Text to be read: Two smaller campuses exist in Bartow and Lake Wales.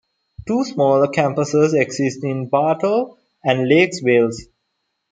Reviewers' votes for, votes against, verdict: 1, 2, rejected